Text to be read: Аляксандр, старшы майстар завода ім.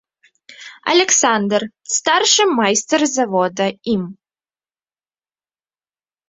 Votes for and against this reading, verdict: 2, 1, accepted